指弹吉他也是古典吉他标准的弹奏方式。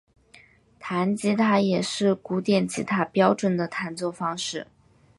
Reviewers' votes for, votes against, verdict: 6, 2, accepted